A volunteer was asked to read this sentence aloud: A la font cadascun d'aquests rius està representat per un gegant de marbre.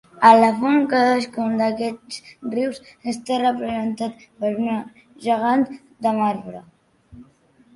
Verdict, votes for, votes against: rejected, 0, 2